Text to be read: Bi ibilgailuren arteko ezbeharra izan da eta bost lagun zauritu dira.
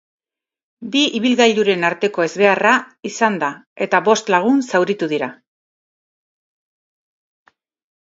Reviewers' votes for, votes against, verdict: 2, 0, accepted